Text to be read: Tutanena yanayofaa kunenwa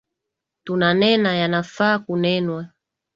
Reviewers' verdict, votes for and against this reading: rejected, 0, 2